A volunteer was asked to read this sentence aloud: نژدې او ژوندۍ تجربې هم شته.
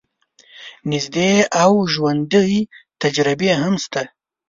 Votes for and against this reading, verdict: 2, 0, accepted